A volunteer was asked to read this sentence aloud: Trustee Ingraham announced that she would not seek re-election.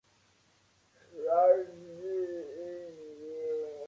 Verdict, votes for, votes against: rejected, 0, 2